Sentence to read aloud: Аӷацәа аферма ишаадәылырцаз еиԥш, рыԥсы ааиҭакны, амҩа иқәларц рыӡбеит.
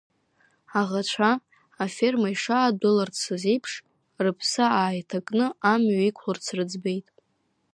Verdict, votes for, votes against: rejected, 0, 2